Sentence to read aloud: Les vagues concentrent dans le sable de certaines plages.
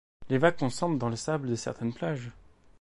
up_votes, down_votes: 1, 2